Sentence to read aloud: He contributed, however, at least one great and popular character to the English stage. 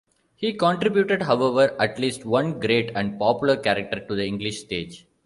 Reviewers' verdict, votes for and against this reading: accepted, 2, 0